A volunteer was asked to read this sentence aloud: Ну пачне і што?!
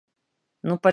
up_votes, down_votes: 0, 2